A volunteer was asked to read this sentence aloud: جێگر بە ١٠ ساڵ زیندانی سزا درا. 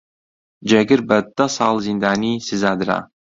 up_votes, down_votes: 0, 2